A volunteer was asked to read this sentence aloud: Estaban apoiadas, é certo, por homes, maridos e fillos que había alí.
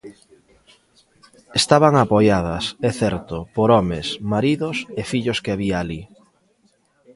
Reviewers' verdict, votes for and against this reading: rejected, 1, 2